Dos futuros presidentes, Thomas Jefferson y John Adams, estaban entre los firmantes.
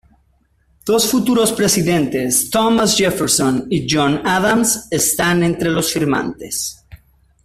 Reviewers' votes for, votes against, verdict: 1, 2, rejected